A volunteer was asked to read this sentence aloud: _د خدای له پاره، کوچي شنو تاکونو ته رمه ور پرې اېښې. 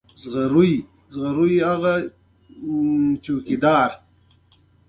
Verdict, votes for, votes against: accepted, 2, 1